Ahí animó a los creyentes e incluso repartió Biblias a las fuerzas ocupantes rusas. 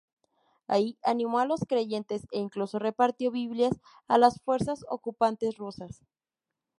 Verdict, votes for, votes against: accepted, 2, 0